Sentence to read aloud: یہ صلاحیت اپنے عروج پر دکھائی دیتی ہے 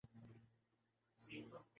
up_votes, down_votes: 5, 13